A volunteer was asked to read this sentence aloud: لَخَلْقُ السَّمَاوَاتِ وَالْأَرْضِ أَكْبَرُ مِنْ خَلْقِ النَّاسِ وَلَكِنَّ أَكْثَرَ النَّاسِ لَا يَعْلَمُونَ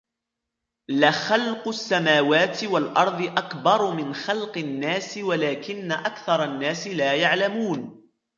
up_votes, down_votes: 2, 0